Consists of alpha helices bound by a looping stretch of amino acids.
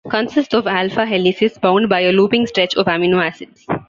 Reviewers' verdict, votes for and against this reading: rejected, 1, 2